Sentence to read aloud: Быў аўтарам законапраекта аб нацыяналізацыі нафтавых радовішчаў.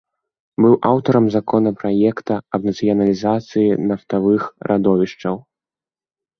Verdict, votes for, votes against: rejected, 1, 2